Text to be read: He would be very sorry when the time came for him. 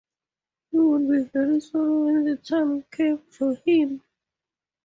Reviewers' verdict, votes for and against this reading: rejected, 0, 4